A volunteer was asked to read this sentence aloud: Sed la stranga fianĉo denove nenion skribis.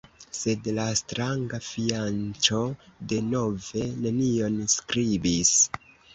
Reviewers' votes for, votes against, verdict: 0, 2, rejected